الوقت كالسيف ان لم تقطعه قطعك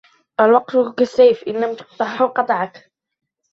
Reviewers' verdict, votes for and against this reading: accepted, 2, 0